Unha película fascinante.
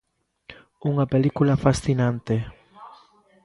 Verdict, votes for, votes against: rejected, 0, 2